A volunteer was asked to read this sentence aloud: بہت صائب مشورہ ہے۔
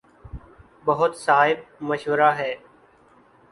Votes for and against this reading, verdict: 5, 0, accepted